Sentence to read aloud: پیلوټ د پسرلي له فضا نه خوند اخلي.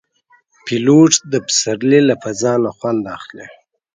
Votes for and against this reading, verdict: 2, 0, accepted